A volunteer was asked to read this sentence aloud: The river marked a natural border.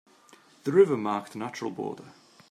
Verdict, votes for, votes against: accepted, 2, 0